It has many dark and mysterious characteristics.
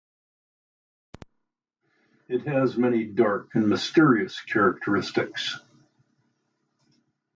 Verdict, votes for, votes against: accepted, 2, 0